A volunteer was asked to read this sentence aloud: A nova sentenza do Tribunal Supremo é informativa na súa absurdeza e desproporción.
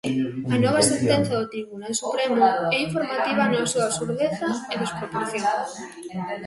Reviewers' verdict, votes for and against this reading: rejected, 1, 2